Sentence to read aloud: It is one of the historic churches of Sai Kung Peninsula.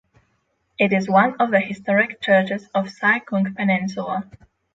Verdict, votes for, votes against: accepted, 6, 0